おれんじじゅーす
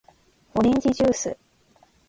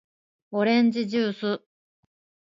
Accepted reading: second